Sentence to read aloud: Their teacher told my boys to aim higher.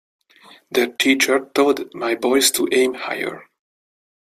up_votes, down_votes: 2, 1